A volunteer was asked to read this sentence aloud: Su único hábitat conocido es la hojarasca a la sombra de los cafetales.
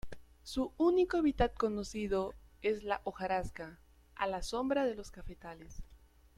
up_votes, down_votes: 0, 2